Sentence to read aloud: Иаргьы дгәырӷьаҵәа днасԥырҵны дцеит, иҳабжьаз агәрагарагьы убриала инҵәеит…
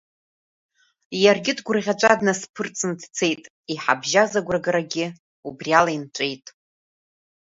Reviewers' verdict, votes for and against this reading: accepted, 2, 1